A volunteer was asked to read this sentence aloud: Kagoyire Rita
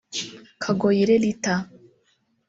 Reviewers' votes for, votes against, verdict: 1, 2, rejected